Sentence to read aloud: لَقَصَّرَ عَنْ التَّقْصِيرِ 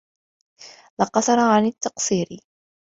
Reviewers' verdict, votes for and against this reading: accepted, 2, 0